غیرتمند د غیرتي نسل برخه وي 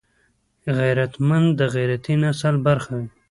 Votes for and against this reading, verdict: 0, 2, rejected